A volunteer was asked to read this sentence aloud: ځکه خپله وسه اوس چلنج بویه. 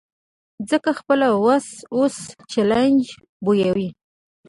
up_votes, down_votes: 0, 2